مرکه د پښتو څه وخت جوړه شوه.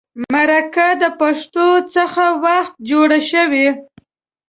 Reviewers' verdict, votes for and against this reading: rejected, 1, 2